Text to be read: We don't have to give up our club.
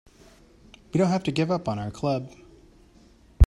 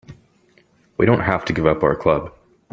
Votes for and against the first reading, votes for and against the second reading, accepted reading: 0, 3, 3, 0, second